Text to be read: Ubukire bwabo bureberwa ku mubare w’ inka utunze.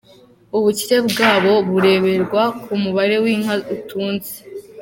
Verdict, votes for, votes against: accepted, 2, 0